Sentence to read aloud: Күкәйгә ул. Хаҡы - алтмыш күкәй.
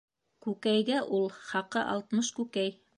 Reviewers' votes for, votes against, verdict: 1, 2, rejected